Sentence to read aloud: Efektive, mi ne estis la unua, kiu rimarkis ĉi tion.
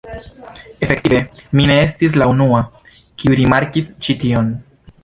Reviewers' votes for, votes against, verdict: 0, 2, rejected